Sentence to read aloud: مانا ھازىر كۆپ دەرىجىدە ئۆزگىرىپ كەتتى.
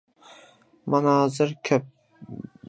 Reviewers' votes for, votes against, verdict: 0, 2, rejected